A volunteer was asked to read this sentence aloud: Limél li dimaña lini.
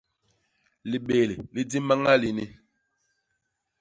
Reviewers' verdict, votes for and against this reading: rejected, 0, 2